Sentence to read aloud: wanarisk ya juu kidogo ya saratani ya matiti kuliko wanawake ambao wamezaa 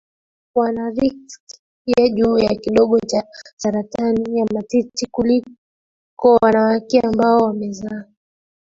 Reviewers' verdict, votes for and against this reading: rejected, 0, 2